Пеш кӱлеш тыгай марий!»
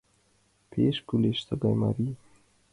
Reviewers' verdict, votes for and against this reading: accepted, 2, 0